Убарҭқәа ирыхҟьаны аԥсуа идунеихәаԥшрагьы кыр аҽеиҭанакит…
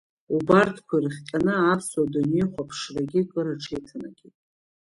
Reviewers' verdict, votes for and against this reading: accepted, 2, 1